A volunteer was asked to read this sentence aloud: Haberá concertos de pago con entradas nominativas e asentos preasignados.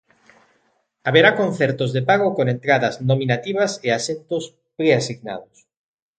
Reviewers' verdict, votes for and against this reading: accepted, 3, 0